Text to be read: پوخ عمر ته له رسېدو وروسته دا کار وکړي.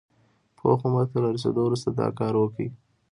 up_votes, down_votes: 2, 0